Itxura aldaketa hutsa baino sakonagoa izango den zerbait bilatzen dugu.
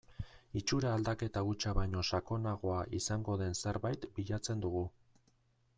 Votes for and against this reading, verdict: 2, 0, accepted